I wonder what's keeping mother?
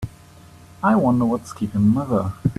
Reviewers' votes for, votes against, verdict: 3, 0, accepted